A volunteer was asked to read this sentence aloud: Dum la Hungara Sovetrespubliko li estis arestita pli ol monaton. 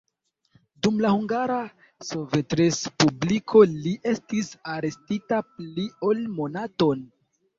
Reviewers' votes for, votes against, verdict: 1, 2, rejected